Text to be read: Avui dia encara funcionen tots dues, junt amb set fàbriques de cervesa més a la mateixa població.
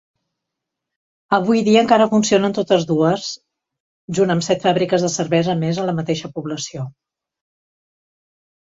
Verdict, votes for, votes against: rejected, 0, 2